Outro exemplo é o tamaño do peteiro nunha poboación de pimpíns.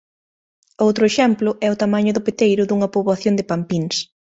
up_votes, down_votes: 0, 2